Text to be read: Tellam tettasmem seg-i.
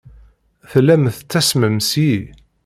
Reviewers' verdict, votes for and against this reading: accepted, 2, 0